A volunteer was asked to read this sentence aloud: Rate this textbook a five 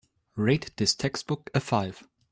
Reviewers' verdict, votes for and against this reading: accepted, 2, 0